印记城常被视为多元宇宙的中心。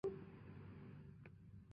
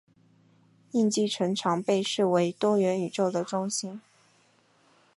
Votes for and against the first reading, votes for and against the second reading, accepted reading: 0, 2, 2, 0, second